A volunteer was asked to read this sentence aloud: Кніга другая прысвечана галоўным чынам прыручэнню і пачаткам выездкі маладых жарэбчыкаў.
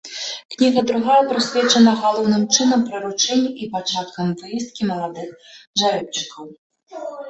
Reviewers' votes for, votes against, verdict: 2, 0, accepted